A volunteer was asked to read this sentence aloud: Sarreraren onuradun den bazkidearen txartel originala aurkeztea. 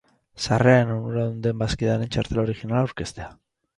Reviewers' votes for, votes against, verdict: 0, 2, rejected